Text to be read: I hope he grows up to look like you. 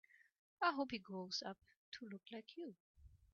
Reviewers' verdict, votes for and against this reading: accepted, 3, 1